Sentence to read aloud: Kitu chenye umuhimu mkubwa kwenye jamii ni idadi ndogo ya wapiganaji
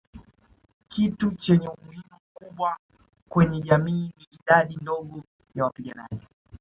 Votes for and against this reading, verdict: 2, 1, accepted